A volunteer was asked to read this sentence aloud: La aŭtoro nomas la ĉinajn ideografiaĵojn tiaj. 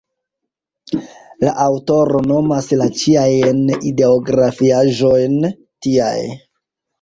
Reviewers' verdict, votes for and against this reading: rejected, 0, 2